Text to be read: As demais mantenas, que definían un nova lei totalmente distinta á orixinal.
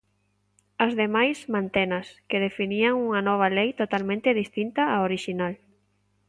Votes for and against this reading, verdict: 2, 1, accepted